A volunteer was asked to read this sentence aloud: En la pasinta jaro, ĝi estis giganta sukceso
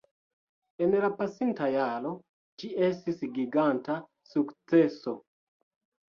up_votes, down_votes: 2, 1